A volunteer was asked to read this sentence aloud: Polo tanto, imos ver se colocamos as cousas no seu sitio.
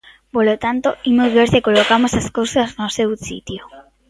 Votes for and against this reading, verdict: 2, 1, accepted